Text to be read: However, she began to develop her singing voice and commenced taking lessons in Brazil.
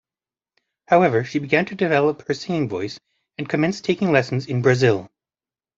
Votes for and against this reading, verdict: 2, 0, accepted